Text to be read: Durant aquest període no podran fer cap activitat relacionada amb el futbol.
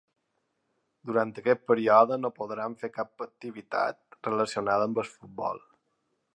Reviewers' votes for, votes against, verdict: 1, 2, rejected